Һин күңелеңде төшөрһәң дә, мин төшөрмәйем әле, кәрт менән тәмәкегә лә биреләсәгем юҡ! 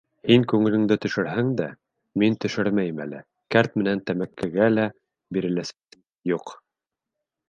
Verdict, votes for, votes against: rejected, 1, 2